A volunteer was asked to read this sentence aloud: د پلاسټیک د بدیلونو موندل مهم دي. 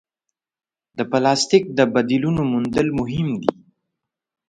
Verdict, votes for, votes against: accepted, 2, 0